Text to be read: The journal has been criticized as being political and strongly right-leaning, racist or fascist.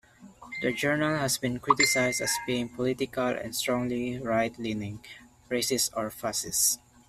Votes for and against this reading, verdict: 0, 2, rejected